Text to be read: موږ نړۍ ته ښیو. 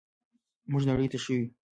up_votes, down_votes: 1, 2